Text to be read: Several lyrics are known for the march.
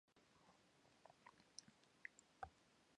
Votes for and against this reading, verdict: 0, 2, rejected